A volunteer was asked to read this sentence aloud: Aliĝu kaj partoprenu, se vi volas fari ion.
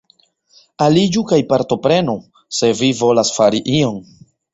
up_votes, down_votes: 2, 0